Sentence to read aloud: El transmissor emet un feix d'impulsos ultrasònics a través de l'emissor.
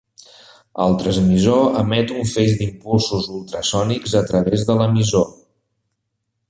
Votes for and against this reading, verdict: 2, 1, accepted